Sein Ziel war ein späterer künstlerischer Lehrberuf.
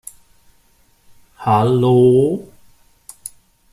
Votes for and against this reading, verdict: 0, 2, rejected